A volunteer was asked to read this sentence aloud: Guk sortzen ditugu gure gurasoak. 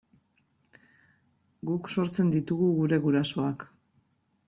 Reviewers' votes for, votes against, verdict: 2, 0, accepted